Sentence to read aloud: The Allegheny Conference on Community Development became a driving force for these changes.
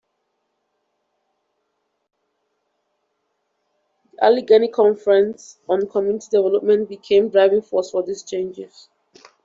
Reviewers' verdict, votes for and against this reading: accepted, 2, 0